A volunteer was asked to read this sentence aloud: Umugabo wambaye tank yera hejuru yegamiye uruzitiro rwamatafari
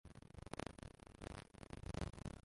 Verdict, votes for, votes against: rejected, 0, 2